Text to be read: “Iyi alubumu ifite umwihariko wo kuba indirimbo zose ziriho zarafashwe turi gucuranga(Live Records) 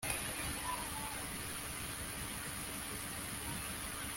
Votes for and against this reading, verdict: 0, 2, rejected